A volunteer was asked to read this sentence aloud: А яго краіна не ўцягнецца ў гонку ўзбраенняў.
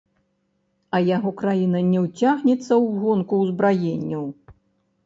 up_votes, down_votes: 1, 2